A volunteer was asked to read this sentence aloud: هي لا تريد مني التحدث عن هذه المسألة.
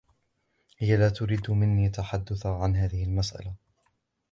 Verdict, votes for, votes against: accepted, 2, 0